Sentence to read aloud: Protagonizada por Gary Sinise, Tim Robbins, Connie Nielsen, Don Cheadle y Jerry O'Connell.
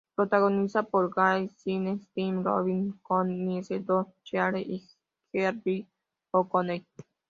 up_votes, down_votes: 1, 2